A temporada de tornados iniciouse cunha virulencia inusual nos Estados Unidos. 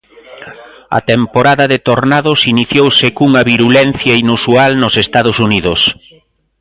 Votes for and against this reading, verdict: 2, 0, accepted